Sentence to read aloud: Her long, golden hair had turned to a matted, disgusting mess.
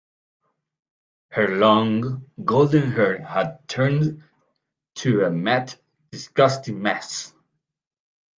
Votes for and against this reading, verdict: 0, 2, rejected